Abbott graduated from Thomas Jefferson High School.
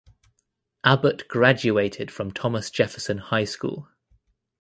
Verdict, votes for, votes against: accepted, 2, 0